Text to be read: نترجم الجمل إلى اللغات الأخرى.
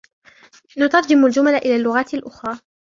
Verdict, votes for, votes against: accepted, 2, 0